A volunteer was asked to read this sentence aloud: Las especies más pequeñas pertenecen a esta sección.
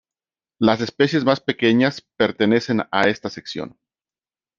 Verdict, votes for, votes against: rejected, 1, 2